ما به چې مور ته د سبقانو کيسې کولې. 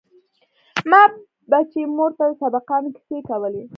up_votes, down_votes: 1, 2